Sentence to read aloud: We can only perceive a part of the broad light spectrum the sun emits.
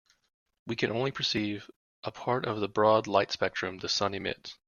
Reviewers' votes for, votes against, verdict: 2, 0, accepted